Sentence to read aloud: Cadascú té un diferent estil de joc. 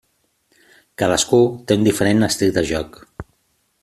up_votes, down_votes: 3, 0